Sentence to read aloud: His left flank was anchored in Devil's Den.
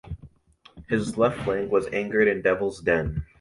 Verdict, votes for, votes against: rejected, 1, 2